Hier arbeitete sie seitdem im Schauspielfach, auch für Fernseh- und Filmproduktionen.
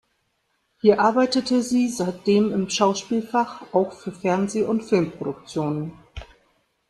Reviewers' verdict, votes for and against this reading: accepted, 2, 0